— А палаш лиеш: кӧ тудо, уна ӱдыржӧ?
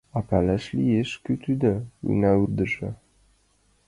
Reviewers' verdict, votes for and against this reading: rejected, 3, 4